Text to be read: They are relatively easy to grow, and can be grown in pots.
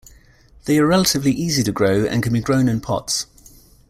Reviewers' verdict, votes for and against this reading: accepted, 2, 0